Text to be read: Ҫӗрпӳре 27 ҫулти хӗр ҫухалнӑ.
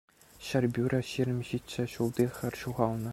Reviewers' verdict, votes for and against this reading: rejected, 0, 2